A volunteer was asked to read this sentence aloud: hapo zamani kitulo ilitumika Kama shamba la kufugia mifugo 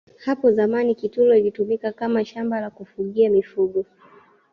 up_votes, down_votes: 1, 2